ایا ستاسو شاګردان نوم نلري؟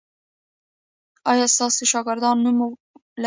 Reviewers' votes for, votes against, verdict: 1, 2, rejected